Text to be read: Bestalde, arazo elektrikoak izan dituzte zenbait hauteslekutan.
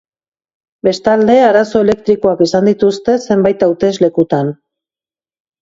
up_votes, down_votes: 2, 0